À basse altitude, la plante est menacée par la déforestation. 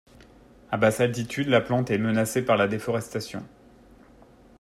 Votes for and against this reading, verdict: 2, 0, accepted